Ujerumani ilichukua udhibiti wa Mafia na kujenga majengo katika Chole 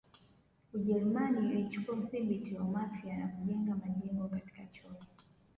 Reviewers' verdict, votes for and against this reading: rejected, 1, 2